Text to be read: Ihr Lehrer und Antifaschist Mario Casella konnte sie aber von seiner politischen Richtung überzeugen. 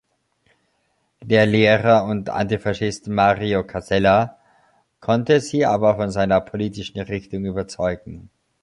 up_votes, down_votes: 0, 2